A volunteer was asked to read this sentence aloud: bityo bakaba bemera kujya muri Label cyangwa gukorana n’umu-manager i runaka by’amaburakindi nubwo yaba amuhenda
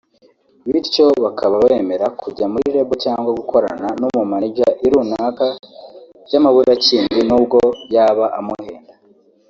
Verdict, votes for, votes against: rejected, 1, 2